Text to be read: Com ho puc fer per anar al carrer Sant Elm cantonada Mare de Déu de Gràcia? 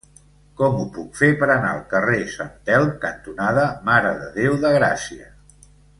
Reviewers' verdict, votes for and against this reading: rejected, 1, 2